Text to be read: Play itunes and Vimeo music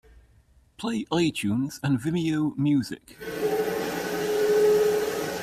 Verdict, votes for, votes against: rejected, 0, 2